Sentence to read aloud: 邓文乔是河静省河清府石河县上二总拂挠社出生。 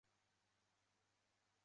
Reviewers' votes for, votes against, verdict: 0, 2, rejected